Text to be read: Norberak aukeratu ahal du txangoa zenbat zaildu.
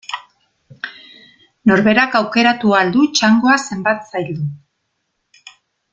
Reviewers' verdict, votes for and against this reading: accepted, 2, 0